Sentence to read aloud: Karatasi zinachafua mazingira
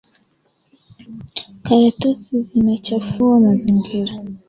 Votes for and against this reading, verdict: 2, 1, accepted